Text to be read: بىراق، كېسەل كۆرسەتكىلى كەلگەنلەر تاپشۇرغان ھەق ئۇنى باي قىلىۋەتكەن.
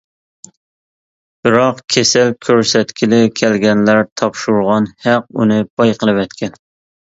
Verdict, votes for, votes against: accepted, 2, 0